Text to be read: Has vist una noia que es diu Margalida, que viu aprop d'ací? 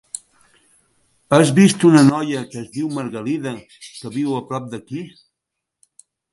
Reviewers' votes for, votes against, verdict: 1, 3, rejected